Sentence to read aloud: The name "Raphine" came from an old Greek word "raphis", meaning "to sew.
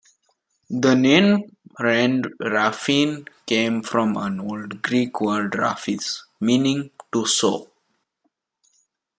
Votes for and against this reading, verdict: 1, 2, rejected